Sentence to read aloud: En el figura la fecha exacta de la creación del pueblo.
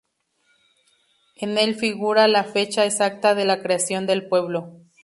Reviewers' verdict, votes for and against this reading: accepted, 2, 0